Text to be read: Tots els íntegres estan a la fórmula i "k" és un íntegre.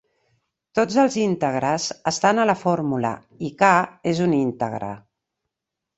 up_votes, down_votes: 3, 0